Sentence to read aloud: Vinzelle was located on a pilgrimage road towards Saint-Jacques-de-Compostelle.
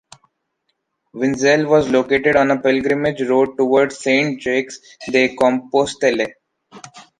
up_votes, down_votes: 1, 2